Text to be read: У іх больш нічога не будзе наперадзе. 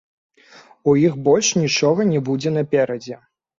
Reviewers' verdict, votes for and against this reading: rejected, 0, 2